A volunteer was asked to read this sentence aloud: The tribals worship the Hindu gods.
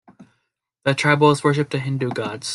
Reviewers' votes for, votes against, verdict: 2, 0, accepted